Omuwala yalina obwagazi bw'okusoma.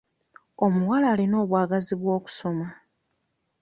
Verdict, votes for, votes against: rejected, 1, 2